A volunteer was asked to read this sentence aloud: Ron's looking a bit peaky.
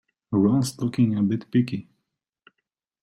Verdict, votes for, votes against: accepted, 2, 0